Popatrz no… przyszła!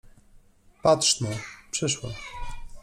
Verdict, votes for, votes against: rejected, 1, 2